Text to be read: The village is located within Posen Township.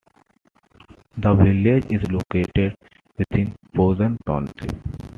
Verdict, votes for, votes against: accepted, 2, 0